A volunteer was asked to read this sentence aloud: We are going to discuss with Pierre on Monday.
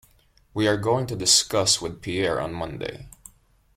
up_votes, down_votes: 2, 0